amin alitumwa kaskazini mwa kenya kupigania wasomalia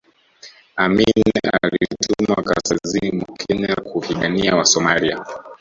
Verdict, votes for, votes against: rejected, 0, 2